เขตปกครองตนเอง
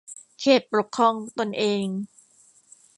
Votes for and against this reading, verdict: 1, 2, rejected